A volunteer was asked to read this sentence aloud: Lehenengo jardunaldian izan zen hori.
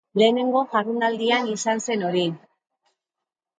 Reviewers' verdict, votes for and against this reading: accepted, 2, 0